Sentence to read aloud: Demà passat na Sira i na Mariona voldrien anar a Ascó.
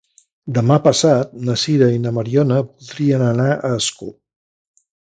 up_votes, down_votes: 0, 3